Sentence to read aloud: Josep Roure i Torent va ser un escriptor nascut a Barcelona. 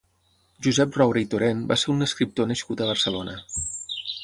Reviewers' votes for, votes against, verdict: 6, 0, accepted